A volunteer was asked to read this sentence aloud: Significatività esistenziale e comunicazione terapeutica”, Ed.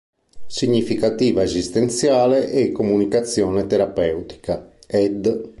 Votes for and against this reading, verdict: 0, 3, rejected